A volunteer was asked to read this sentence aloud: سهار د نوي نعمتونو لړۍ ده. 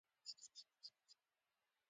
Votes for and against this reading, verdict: 0, 2, rejected